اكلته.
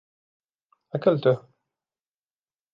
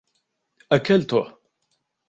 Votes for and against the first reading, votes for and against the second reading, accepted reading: 2, 0, 1, 2, first